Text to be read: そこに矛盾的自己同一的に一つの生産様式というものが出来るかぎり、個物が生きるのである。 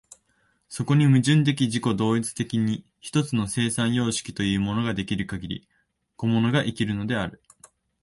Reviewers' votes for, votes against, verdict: 0, 2, rejected